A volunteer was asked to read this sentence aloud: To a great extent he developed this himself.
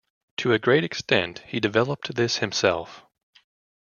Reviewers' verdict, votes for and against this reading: rejected, 1, 2